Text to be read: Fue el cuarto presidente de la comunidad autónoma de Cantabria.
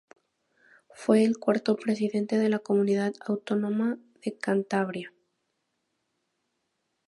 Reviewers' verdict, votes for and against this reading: rejected, 0, 2